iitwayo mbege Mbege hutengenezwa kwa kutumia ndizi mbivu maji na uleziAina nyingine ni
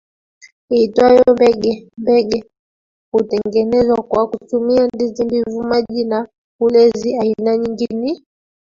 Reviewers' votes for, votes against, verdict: 1, 2, rejected